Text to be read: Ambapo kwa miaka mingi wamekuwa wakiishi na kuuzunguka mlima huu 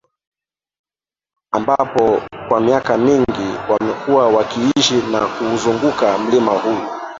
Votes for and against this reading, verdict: 3, 2, accepted